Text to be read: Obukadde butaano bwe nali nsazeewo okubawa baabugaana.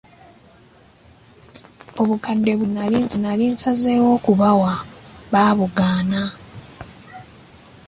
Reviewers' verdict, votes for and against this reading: accepted, 2, 0